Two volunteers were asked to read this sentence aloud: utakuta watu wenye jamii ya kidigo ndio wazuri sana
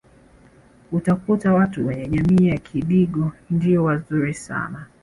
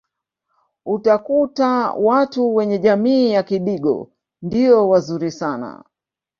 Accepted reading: first